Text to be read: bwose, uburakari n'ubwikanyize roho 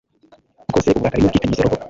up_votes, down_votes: 1, 2